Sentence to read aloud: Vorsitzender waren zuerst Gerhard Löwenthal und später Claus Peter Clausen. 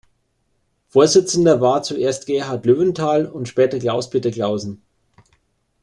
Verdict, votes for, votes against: rejected, 1, 2